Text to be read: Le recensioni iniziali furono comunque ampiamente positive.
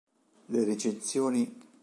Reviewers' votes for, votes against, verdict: 1, 2, rejected